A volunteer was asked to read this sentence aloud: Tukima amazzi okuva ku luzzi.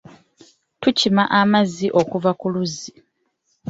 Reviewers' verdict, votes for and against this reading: accepted, 3, 0